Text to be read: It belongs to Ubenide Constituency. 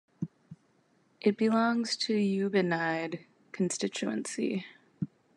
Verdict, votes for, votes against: accepted, 2, 0